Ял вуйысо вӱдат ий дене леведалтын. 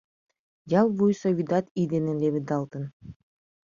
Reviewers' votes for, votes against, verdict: 2, 0, accepted